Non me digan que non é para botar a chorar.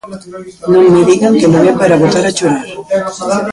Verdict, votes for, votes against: rejected, 0, 2